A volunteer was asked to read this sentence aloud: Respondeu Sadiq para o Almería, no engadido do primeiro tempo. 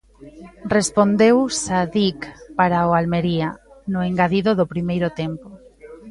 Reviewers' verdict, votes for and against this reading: accepted, 2, 0